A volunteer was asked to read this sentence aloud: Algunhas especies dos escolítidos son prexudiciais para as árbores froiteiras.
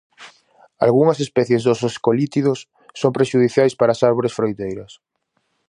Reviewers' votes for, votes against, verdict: 4, 0, accepted